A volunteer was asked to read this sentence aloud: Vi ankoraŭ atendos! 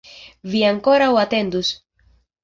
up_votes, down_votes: 1, 2